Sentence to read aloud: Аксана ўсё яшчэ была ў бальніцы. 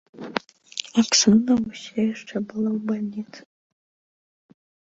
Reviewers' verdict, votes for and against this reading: accepted, 2, 1